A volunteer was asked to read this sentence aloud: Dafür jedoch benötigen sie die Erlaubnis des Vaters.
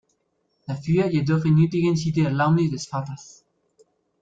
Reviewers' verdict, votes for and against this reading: rejected, 0, 2